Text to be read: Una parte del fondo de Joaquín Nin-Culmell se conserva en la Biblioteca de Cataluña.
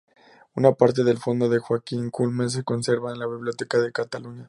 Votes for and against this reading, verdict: 0, 2, rejected